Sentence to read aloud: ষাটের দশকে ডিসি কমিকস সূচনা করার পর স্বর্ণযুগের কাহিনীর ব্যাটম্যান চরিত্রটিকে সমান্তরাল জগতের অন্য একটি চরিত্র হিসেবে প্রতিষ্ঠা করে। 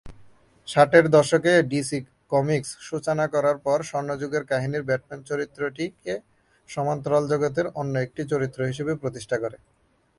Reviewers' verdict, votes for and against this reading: accepted, 2, 1